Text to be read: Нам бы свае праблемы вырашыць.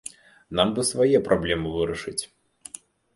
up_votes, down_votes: 2, 0